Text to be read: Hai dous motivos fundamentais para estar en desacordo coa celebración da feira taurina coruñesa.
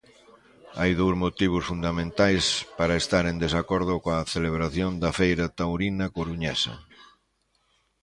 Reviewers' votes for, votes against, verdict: 2, 0, accepted